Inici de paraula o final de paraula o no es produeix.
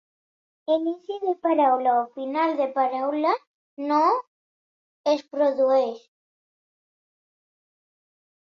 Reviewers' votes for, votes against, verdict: 1, 2, rejected